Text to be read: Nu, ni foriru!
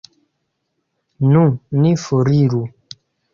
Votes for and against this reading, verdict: 2, 0, accepted